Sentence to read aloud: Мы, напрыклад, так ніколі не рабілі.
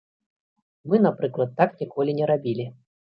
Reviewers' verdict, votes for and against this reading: accepted, 2, 0